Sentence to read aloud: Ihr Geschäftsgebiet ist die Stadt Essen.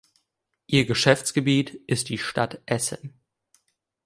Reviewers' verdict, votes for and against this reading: accepted, 2, 0